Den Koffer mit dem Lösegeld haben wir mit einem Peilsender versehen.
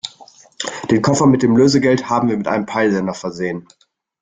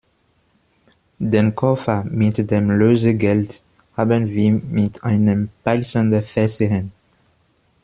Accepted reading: first